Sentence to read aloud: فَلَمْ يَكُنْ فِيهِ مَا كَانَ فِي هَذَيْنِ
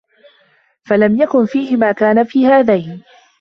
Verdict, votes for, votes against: accepted, 2, 0